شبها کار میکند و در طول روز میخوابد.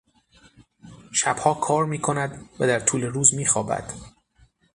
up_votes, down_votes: 6, 0